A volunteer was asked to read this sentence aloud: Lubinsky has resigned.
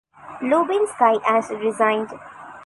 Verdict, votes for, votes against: rejected, 1, 2